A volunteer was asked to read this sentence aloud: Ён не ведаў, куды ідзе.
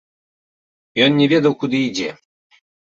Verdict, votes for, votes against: accepted, 2, 0